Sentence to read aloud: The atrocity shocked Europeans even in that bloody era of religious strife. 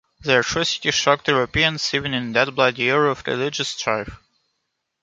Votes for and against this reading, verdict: 0, 2, rejected